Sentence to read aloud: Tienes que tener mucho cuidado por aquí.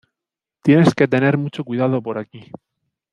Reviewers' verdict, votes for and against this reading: rejected, 1, 2